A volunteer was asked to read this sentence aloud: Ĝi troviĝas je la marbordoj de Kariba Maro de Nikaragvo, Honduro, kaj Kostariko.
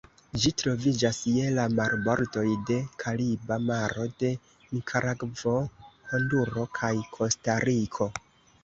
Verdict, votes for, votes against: accepted, 2, 0